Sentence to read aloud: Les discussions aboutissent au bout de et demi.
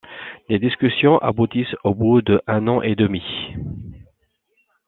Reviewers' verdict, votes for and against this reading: rejected, 1, 2